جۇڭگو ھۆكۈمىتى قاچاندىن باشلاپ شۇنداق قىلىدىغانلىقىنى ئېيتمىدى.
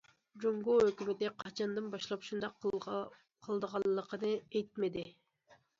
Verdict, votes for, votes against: accepted, 2, 1